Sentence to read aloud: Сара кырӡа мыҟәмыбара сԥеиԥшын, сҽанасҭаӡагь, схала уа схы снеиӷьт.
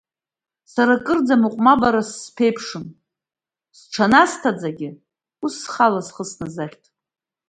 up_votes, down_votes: 0, 2